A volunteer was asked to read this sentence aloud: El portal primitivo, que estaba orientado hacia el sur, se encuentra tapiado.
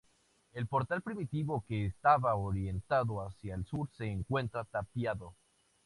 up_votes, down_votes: 2, 0